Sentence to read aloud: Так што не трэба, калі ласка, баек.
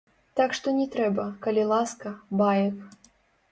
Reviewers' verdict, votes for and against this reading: rejected, 0, 2